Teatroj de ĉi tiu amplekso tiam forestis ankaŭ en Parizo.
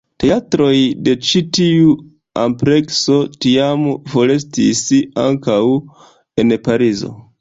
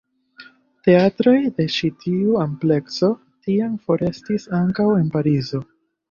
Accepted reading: second